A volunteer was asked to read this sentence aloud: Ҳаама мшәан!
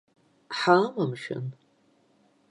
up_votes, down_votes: 3, 0